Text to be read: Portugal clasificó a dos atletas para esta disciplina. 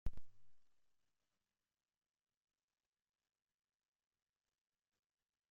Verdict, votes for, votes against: rejected, 0, 2